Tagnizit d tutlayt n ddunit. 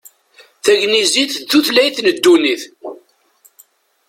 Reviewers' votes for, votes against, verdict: 2, 0, accepted